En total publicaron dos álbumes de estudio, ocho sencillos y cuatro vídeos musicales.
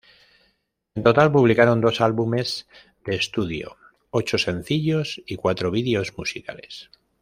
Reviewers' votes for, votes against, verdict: 0, 2, rejected